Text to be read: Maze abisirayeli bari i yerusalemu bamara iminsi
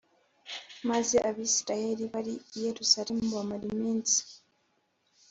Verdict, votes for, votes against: accepted, 2, 0